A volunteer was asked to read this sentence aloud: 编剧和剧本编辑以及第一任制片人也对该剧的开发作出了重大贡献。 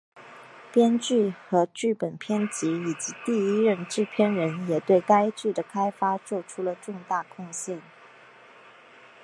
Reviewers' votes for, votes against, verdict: 5, 0, accepted